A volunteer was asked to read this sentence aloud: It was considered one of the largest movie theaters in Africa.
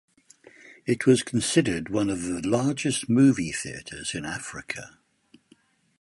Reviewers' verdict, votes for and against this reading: accepted, 4, 0